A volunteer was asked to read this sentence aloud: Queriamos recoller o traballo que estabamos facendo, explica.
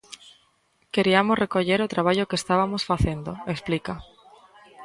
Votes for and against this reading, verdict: 0, 3, rejected